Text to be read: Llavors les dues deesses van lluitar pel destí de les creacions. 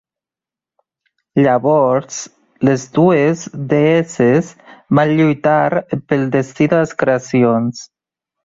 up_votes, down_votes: 2, 0